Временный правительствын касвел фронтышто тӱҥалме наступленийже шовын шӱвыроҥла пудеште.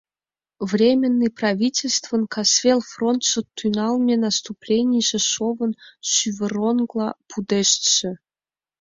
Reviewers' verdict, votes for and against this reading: rejected, 1, 2